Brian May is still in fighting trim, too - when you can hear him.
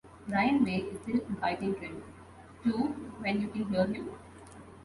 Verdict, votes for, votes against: rejected, 1, 2